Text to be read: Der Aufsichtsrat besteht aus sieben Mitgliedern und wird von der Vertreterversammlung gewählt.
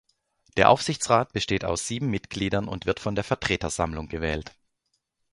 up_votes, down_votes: 1, 2